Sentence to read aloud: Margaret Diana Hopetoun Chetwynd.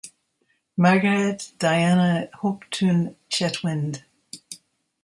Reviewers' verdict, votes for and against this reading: rejected, 0, 2